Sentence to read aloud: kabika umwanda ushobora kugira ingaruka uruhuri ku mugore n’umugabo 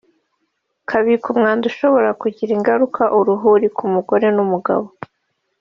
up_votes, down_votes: 1, 2